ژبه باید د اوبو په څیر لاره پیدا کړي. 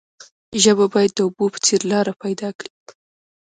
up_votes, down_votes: 1, 2